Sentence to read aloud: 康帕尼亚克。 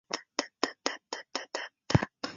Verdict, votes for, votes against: rejected, 0, 3